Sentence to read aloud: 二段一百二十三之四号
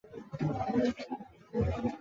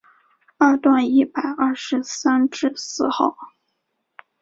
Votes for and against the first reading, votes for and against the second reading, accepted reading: 0, 7, 2, 0, second